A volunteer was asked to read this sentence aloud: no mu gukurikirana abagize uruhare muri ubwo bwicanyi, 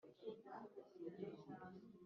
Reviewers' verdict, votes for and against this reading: rejected, 1, 2